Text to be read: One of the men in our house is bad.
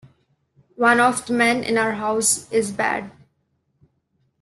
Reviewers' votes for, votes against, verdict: 2, 0, accepted